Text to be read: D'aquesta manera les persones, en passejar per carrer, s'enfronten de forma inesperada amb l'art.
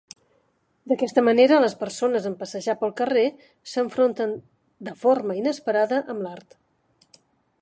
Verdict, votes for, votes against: accepted, 3, 0